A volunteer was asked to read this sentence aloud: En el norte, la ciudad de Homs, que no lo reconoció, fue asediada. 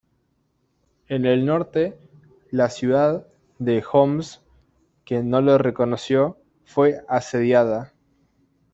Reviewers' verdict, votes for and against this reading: rejected, 1, 2